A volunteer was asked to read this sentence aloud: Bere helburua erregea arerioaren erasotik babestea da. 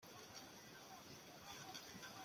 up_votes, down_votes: 0, 2